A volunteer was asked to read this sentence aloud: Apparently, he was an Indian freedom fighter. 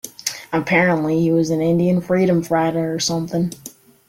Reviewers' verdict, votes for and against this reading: rejected, 0, 2